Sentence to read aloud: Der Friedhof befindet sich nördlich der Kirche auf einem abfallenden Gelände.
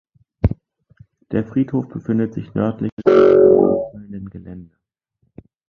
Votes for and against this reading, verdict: 0, 2, rejected